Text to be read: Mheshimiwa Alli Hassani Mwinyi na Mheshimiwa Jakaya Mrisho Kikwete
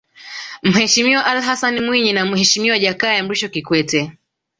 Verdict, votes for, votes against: rejected, 1, 2